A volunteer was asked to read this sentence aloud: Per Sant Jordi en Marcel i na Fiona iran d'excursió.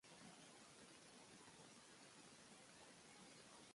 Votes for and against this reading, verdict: 0, 2, rejected